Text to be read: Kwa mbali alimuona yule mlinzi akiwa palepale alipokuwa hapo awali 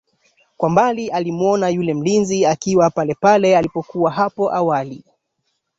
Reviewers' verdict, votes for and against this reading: accepted, 2, 1